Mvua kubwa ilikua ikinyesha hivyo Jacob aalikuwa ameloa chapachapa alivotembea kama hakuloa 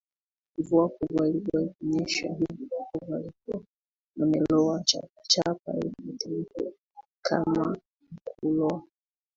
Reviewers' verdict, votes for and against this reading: rejected, 0, 2